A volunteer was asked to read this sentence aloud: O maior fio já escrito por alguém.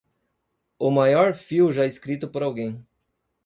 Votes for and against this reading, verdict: 2, 0, accepted